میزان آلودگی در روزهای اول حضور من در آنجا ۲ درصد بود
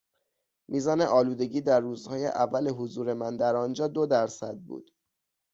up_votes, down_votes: 0, 2